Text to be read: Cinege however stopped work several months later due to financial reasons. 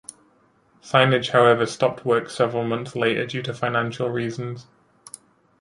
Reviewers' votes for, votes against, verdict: 2, 0, accepted